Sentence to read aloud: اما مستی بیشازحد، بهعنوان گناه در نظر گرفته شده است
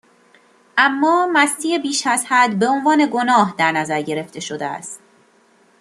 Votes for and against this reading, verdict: 2, 0, accepted